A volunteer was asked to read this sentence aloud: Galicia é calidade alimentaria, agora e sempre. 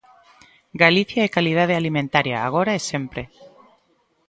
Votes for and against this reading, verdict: 2, 0, accepted